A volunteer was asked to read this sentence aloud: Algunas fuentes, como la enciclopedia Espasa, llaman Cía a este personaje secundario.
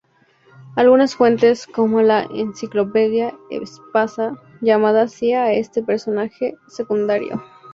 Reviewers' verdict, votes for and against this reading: rejected, 0, 2